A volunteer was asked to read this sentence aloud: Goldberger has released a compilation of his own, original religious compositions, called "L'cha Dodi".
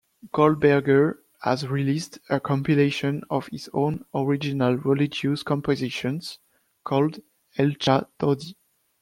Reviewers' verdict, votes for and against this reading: accepted, 2, 1